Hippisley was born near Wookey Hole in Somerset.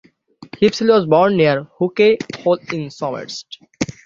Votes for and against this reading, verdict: 3, 6, rejected